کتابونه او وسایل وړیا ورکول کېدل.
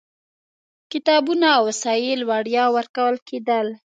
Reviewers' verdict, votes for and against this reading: accepted, 2, 0